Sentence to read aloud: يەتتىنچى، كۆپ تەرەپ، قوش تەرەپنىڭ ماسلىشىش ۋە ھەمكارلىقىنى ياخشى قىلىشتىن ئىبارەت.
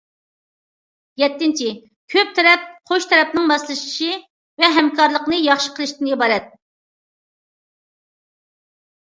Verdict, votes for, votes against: rejected, 1, 2